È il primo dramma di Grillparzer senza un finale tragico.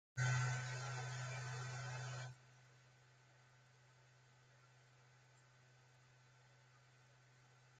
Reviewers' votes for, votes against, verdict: 0, 2, rejected